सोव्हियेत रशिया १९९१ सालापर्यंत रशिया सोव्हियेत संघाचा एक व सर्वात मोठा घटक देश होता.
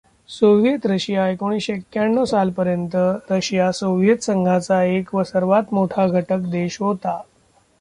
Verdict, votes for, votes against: rejected, 0, 2